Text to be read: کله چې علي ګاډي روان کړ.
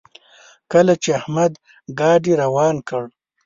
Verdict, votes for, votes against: rejected, 1, 2